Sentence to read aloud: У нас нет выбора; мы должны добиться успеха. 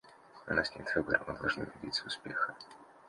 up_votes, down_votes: 2, 0